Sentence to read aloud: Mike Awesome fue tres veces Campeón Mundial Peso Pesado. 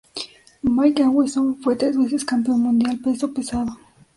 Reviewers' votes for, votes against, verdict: 2, 0, accepted